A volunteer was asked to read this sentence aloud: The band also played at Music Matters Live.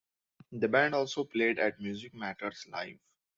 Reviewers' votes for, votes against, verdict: 2, 1, accepted